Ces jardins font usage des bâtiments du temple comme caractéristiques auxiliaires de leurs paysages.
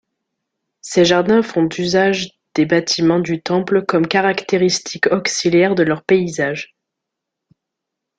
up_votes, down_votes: 2, 0